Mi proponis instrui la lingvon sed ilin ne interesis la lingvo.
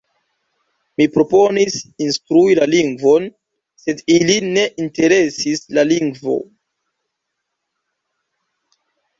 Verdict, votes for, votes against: accepted, 3, 0